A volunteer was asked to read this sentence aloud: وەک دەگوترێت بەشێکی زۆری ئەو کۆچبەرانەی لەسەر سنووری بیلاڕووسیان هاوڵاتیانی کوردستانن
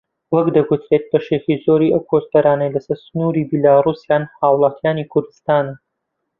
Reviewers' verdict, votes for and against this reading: accepted, 2, 0